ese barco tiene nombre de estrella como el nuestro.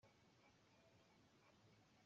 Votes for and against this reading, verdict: 0, 2, rejected